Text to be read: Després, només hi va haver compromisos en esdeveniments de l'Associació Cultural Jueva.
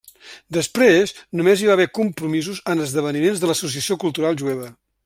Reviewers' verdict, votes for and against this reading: accepted, 3, 0